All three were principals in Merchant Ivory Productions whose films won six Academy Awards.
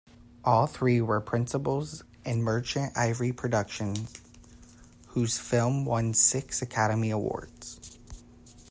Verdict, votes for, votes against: rejected, 0, 2